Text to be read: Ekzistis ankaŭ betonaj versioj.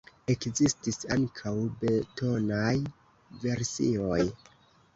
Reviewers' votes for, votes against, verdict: 1, 2, rejected